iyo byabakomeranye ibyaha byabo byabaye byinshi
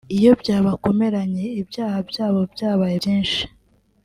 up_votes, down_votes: 2, 1